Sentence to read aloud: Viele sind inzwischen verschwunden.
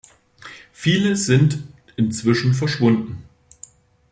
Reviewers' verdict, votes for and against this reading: accepted, 2, 0